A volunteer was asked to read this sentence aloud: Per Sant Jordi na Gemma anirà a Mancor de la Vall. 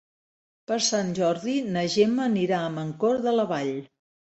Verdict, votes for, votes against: accepted, 2, 0